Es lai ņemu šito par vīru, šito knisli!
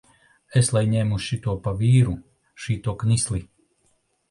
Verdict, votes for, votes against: rejected, 1, 2